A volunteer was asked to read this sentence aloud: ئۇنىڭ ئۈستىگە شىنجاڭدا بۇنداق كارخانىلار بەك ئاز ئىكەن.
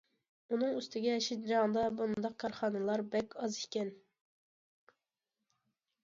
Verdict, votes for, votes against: accepted, 2, 0